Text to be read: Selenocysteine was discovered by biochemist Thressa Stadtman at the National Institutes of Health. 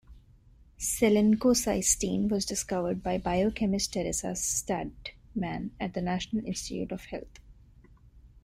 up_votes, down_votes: 1, 2